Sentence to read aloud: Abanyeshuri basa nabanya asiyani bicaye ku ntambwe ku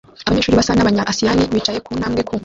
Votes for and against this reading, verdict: 0, 2, rejected